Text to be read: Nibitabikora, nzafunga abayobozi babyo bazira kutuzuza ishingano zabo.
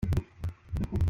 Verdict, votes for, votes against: rejected, 0, 3